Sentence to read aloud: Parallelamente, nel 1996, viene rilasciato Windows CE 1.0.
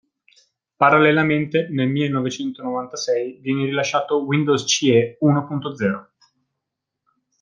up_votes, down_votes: 0, 2